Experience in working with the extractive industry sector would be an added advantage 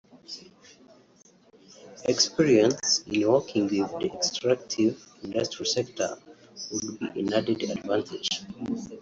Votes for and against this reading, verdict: 0, 2, rejected